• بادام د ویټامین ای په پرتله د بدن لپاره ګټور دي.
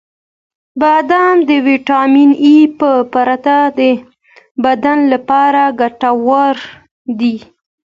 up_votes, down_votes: 1, 2